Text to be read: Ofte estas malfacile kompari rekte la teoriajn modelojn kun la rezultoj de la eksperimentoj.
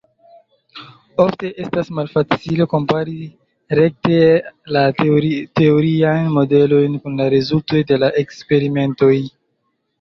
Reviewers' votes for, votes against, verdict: 1, 2, rejected